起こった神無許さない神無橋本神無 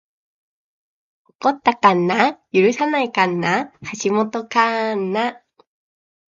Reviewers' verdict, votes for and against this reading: accepted, 2, 0